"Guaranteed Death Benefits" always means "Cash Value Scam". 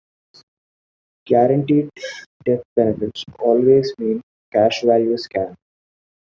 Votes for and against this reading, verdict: 2, 1, accepted